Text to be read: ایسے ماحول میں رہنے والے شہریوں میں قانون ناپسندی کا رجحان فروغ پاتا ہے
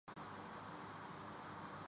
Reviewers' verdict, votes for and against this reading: rejected, 0, 2